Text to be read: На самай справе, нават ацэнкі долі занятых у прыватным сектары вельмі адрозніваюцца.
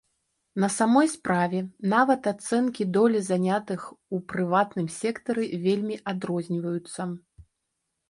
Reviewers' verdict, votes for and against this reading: rejected, 1, 2